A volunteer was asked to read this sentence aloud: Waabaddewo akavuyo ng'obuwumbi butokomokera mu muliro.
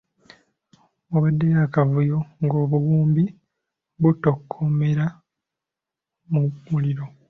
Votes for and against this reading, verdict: 2, 0, accepted